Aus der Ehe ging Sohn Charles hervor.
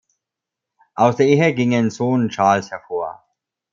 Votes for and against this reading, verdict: 0, 2, rejected